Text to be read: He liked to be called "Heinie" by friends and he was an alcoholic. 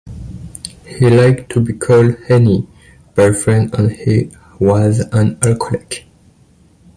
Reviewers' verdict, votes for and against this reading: rejected, 2, 3